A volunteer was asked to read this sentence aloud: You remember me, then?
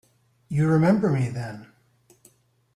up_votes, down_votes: 2, 0